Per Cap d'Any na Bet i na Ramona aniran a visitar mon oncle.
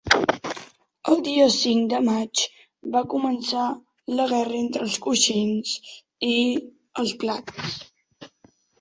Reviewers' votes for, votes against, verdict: 0, 2, rejected